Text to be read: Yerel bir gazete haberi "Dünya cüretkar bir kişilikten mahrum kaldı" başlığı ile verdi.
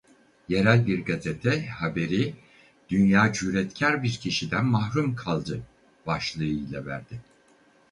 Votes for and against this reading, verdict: 2, 2, rejected